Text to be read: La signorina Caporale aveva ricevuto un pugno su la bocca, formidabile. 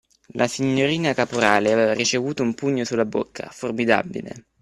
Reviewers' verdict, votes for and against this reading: accepted, 2, 1